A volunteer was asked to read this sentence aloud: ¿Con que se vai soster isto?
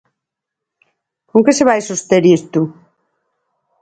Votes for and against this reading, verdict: 4, 0, accepted